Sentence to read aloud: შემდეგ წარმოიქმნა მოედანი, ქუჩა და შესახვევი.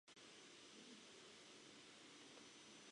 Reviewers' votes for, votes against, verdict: 0, 2, rejected